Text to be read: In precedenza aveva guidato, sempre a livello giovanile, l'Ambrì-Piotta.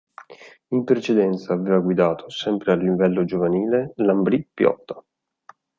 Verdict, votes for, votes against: accepted, 2, 0